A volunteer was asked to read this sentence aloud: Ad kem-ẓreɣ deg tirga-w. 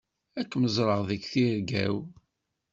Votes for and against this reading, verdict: 2, 0, accepted